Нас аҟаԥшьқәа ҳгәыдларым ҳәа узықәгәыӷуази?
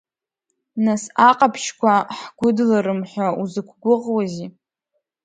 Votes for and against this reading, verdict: 2, 0, accepted